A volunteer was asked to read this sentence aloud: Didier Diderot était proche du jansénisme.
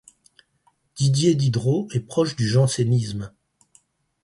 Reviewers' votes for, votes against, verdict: 0, 4, rejected